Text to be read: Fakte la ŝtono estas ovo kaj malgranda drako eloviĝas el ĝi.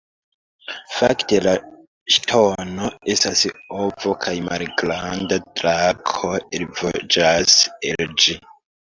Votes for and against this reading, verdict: 0, 2, rejected